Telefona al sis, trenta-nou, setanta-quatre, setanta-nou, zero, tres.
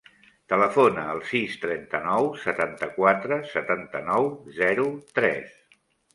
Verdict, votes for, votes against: accepted, 3, 0